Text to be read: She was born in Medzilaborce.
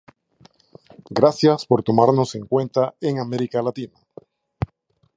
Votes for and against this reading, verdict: 0, 2, rejected